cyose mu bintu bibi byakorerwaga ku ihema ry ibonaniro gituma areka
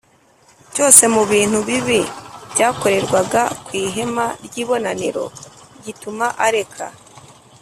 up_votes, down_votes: 2, 0